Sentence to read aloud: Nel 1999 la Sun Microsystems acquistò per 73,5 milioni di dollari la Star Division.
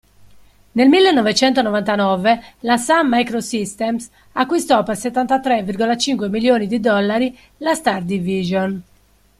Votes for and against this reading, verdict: 0, 2, rejected